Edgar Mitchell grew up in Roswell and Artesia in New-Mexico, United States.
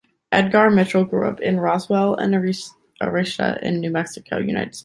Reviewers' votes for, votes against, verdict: 0, 2, rejected